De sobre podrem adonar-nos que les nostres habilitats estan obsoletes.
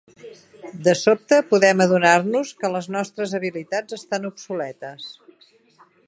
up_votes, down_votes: 0, 2